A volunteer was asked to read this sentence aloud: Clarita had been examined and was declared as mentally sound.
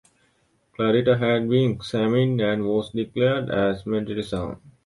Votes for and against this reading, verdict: 3, 1, accepted